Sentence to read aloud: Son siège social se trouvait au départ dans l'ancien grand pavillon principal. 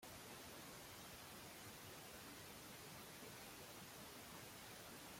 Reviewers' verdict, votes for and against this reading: rejected, 0, 2